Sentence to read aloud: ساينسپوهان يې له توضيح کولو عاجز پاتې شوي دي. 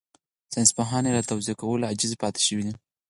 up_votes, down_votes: 2, 4